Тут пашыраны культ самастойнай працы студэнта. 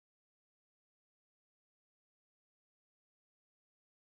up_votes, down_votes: 0, 2